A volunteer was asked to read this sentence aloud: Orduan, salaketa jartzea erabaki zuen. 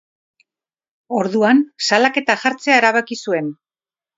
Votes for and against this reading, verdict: 4, 0, accepted